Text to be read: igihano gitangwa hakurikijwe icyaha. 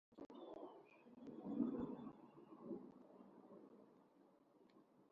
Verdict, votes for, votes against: rejected, 1, 2